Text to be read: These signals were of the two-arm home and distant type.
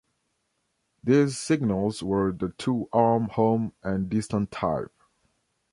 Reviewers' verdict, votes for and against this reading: rejected, 1, 2